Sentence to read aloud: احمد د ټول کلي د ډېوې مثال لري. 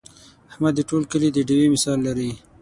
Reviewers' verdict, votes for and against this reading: accepted, 6, 0